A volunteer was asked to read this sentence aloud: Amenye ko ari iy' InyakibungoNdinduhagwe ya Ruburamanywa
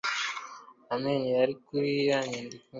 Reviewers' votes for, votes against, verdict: 0, 2, rejected